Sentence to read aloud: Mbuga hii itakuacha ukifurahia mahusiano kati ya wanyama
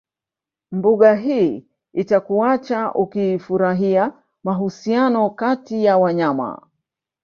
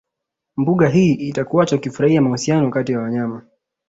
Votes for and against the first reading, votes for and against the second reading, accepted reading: 1, 2, 2, 0, second